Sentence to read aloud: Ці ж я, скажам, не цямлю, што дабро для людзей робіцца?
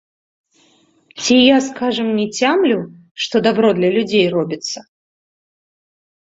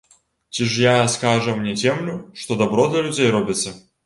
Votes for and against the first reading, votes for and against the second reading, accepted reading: 2, 3, 2, 1, second